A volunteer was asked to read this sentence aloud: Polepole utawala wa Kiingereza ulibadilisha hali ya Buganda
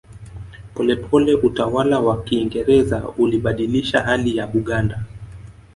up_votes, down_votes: 1, 2